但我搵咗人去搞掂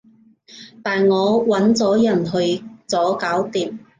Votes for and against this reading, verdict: 0, 2, rejected